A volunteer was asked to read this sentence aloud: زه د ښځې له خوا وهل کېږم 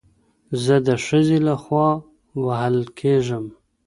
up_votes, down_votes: 1, 2